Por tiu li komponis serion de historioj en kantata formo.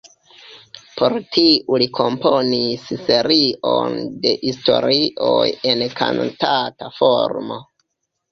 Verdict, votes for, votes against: rejected, 1, 2